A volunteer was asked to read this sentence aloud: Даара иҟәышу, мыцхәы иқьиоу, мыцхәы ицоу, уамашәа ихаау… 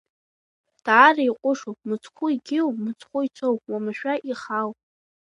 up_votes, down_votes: 2, 0